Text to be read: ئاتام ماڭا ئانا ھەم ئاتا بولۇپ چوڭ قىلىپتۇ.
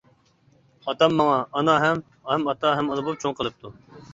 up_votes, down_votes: 0, 2